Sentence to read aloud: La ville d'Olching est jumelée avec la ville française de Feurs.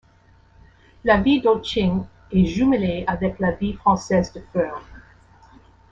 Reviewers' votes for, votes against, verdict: 2, 0, accepted